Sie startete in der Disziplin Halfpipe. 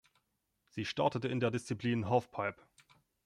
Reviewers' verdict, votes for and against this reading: accepted, 2, 1